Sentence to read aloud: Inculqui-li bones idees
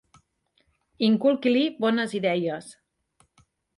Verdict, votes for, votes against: accepted, 2, 1